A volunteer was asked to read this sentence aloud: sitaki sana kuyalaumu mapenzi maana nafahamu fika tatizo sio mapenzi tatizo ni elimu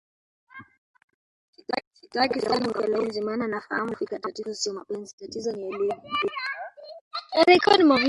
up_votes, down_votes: 1, 2